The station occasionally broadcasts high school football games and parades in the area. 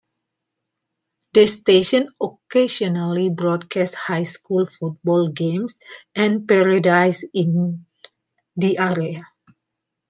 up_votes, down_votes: 2, 0